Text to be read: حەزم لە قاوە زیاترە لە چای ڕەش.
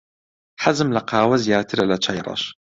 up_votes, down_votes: 2, 0